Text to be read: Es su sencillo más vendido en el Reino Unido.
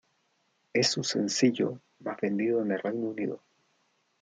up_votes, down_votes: 1, 2